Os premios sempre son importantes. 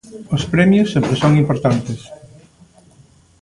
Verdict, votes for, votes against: rejected, 1, 2